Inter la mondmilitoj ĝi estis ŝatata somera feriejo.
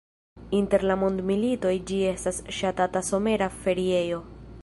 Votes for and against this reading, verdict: 2, 1, accepted